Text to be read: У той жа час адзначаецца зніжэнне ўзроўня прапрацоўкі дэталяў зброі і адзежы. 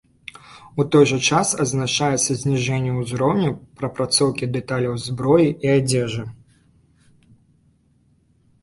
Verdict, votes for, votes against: rejected, 1, 2